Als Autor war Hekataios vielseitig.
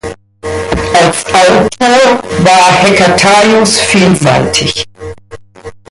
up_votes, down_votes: 0, 2